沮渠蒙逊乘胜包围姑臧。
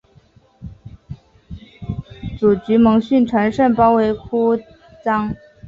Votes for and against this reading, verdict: 2, 0, accepted